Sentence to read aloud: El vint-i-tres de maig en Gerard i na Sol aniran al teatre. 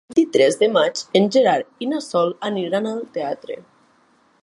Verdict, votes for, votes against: accepted, 2, 1